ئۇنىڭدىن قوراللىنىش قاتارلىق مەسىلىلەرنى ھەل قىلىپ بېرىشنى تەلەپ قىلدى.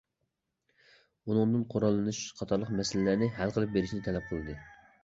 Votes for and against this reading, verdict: 2, 0, accepted